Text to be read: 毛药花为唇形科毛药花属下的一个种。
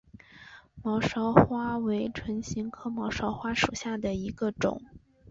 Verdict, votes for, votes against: rejected, 1, 4